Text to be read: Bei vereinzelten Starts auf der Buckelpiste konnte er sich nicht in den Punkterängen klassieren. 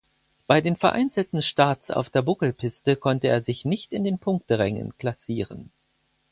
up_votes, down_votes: 0, 4